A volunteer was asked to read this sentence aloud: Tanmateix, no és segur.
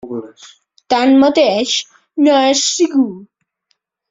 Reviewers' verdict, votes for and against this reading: accepted, 3, 0